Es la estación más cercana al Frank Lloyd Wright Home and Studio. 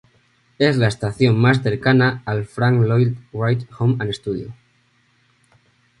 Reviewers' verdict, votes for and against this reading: accepted, 2, 0